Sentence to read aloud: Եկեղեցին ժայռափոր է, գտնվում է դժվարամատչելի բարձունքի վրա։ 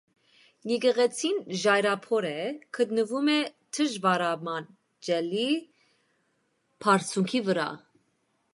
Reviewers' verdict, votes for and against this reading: accepted, 2, 0